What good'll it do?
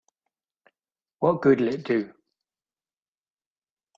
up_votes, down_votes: 2, 0